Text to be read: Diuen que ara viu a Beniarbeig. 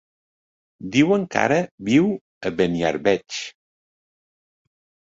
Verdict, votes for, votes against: accepted, 2, 0